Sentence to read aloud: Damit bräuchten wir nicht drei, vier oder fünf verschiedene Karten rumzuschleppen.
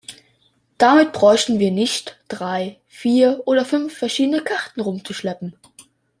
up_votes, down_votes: 2, 0